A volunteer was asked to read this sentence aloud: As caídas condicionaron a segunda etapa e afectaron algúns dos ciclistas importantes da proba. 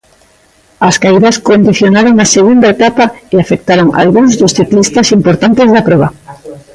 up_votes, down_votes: 1, 2